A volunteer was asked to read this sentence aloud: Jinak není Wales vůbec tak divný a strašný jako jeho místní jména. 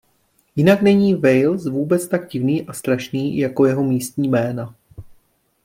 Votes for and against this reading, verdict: 2, 0, accepted